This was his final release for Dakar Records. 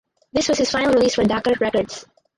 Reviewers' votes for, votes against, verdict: 0, 4, rejected